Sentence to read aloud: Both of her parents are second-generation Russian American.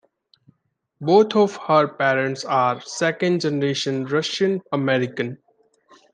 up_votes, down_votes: 2, 0